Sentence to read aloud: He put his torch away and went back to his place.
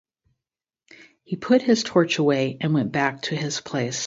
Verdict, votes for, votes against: accepted, 2, 0